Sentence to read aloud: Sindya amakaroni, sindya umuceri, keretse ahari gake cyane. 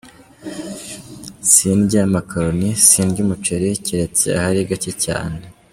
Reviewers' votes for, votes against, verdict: 1, 2, rejected